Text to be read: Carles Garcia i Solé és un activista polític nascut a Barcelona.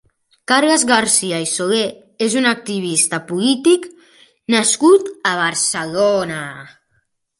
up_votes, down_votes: 1, 3